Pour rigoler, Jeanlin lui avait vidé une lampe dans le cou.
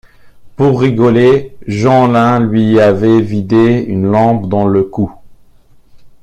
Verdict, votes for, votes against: rejected, 1, 2